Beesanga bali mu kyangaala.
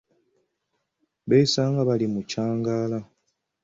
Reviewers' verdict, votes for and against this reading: accepted, 2, 0